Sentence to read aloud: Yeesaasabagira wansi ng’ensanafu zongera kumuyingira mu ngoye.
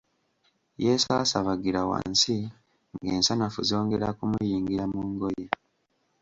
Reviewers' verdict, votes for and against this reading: accepted, 2, 0